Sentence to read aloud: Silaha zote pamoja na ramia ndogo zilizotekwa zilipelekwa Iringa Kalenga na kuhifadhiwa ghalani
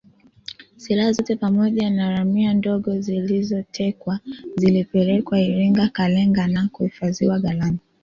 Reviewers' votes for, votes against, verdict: 2, 1, accepted